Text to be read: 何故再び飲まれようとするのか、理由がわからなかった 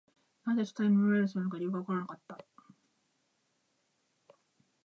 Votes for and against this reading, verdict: 0, 2, rejected